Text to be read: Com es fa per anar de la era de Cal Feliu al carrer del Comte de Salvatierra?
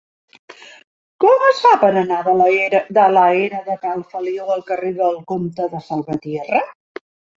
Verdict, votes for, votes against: rejected, 0, 2